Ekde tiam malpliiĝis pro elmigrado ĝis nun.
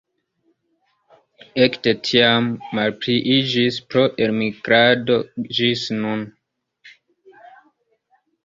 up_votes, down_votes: 2, 0